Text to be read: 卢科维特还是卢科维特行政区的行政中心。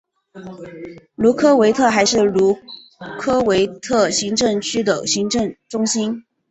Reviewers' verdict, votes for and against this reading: rejected, 0, 2